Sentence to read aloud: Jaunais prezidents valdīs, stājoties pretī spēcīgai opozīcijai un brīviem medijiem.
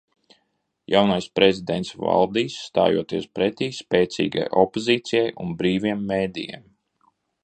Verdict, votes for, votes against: rejected, 1, 2